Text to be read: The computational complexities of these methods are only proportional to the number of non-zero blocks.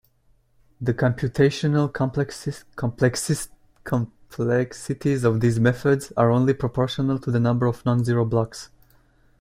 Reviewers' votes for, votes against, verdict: 0, 2, rejected